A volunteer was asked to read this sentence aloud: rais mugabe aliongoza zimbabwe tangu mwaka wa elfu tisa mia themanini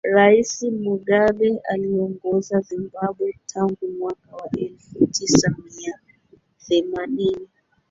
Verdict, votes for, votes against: rejected, 0, 2